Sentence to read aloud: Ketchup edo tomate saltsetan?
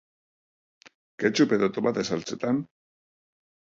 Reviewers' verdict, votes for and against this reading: accepted, 2, 0